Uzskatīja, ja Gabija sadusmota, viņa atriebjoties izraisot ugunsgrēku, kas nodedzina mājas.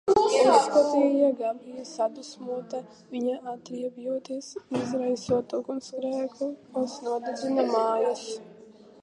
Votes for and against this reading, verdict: 0, 2, rejected